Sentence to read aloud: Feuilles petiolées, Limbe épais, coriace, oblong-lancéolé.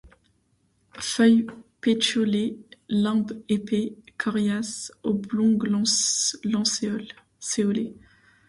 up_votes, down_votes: 1, 2